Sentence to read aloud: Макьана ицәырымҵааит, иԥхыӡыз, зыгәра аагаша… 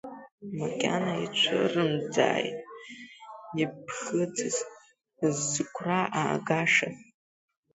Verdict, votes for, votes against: rejected, 0, 2